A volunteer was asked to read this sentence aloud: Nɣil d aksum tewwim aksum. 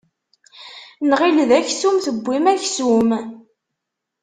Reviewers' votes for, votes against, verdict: 2, 0, accepted